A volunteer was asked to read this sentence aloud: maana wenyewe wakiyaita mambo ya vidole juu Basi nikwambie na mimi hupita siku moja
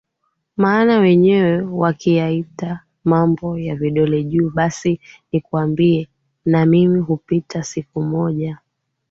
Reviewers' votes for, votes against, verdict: 3, 2, accepted